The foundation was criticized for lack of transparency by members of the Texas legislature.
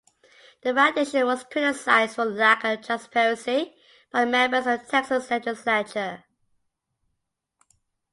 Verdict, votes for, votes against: accepted, 2, 1